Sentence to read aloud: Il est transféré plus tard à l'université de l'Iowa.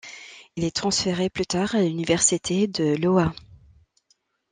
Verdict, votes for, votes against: rejected, 0, 2